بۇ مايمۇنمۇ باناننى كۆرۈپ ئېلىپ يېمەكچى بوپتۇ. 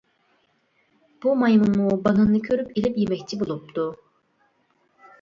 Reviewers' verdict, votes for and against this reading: rejected, 0, 2